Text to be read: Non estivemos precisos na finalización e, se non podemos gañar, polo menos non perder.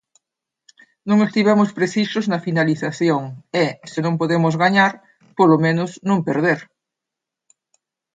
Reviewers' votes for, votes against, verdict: 2, 0, accepted